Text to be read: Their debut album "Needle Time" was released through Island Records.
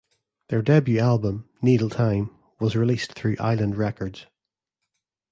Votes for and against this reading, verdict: 2, 0, accepted